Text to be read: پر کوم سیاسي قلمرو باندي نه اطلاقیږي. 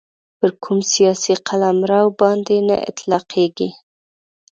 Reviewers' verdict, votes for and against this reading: accepted, 2, 0